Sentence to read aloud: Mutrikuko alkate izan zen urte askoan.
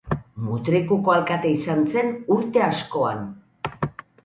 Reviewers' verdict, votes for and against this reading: accepted, 4, 0